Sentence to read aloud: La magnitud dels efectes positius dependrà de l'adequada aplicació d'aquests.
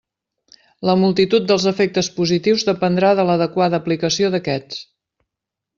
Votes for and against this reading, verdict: 0, 2, rejected